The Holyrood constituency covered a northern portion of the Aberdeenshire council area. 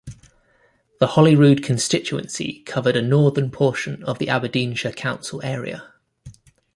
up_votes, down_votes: 1, 2